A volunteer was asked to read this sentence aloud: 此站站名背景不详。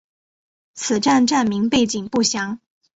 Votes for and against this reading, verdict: 3, 0, accepted